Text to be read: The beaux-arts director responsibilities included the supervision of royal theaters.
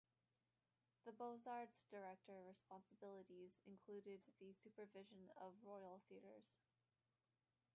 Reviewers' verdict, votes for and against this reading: rejected, 1, 2